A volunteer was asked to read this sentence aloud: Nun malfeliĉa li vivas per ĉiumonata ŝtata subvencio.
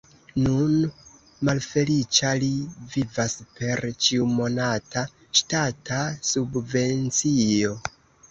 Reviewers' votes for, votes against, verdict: 2, 0, accepted